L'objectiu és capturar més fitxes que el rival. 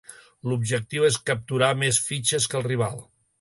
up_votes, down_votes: 2, 0